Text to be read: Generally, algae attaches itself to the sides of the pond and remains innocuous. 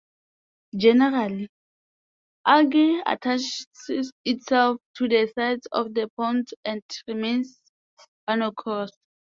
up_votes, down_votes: 0, 2